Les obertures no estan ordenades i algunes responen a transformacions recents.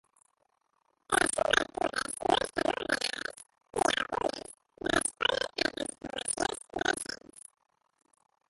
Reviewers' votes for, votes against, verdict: 0, 2, rejected